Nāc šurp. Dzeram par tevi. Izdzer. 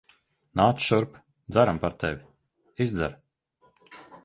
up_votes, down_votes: 2, 0